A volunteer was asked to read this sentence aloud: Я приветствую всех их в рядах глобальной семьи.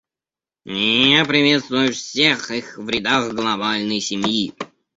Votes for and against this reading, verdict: 1, 2, rejected